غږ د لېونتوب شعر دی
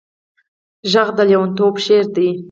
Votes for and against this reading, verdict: 0, 4, rejected